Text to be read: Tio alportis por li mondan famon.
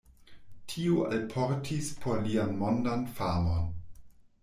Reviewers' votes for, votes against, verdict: 0, 2, rejected